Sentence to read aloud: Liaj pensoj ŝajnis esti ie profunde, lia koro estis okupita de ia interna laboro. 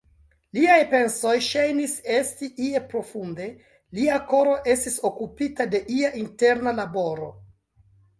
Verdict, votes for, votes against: accepted, 2, 1